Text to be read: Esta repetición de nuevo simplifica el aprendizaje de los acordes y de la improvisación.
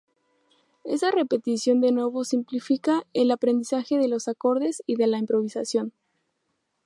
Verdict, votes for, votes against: rejected, 0, 2